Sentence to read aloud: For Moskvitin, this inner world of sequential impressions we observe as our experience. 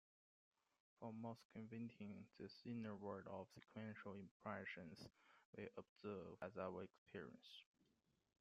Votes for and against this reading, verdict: 0, 2, rejected